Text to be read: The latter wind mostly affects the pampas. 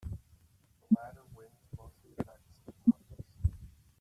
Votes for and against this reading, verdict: 1, 2, rejected